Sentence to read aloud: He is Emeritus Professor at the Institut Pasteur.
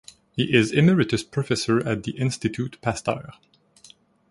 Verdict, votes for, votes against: accepted, 2, 1